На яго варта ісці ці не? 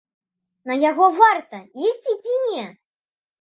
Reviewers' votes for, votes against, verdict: 2, 1, accepted